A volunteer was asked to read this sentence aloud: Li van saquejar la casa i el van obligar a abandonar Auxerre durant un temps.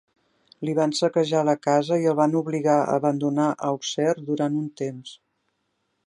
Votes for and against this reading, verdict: 2, 0, accepted